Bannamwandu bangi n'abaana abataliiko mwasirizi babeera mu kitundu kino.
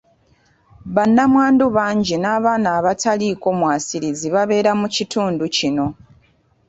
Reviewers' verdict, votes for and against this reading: accepted, 2, 0